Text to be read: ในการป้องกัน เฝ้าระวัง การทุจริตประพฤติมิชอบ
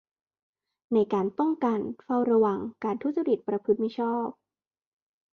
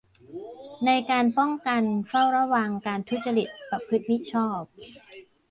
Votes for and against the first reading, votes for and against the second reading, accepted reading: 2, 0, 0, 2, first